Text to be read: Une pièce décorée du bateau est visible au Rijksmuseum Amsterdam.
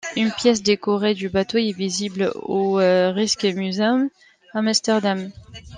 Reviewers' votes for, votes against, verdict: 1, 2, rejected